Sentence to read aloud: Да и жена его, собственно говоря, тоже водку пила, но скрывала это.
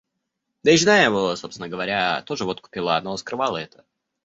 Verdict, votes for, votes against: rejected, 0, 2